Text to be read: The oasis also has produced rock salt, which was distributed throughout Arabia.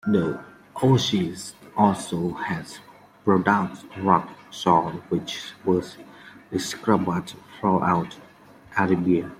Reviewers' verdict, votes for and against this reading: accepted, 2, 1